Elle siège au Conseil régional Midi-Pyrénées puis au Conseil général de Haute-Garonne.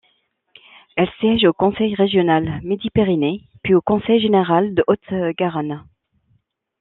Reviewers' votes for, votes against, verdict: 0, 2, rejected